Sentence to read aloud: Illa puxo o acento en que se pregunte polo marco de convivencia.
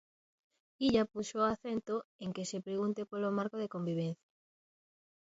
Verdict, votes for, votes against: accepted, 2, 0